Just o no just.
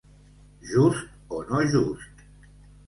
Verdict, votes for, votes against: accepted, 2, 0